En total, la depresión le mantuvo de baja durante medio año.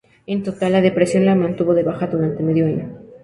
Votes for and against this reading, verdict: 0, 2, rejected